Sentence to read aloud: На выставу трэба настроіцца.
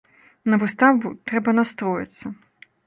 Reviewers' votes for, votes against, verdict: 2, 0, accepted